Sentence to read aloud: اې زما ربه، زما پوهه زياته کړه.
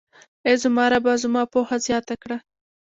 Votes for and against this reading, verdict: 2, 0, accepted